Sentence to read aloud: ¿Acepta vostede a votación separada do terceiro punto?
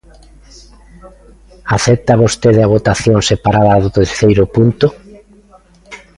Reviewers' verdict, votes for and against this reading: rejected, 1, 2